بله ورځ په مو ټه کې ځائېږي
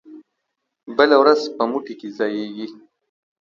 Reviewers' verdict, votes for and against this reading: accepted, 2, 1